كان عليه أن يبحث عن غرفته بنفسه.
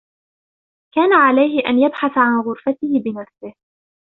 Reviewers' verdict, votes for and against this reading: rejected, 1, 2